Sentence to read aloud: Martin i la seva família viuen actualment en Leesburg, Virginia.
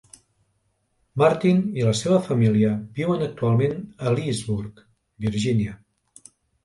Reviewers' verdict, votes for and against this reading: accepted, 2, 0